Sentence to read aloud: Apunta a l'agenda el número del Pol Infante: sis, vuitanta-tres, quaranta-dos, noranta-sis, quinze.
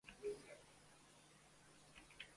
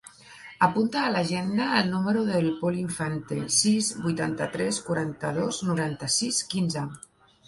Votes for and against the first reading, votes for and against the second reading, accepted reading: 0, 2, 3, 0, second